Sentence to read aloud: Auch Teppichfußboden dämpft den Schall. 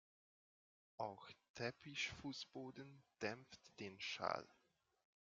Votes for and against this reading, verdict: 1, 2, rejected